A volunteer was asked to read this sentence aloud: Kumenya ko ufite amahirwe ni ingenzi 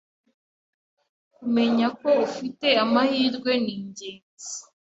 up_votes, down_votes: 2, 0